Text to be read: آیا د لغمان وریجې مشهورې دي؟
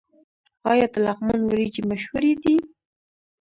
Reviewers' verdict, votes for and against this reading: rejected, 0, 2